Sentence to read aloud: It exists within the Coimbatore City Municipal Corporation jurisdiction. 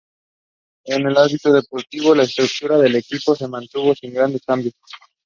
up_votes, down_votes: 1, 2